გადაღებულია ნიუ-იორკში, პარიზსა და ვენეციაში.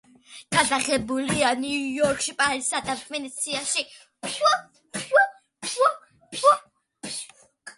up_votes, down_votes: 2, 0